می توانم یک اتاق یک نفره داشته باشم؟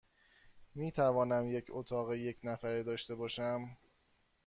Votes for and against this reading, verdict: 2, 0, accepted